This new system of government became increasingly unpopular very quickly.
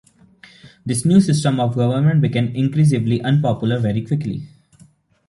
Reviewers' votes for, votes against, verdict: 2, 0, accepted